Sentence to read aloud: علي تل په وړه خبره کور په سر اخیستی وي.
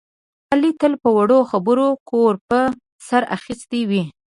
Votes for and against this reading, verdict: 2, 0, accepted